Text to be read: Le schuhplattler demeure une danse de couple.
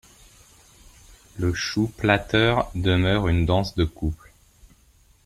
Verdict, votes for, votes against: rejected, 1, 2